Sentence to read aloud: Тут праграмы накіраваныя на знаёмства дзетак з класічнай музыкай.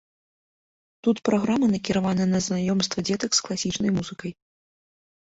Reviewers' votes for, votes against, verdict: 2, 0, accepted